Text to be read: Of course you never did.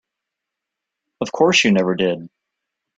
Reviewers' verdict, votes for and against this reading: accepted, 2, 0